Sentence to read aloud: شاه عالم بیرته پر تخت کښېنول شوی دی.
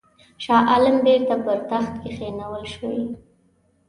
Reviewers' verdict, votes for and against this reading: accepted, 2, 1